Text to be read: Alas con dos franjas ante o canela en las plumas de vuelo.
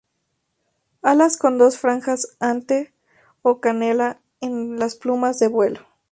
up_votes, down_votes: 2, 0